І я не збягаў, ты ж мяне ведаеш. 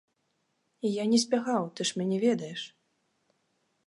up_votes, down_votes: 2, 0